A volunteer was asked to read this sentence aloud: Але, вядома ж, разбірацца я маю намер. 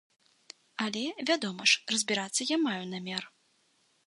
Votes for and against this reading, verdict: 2, 0, accepted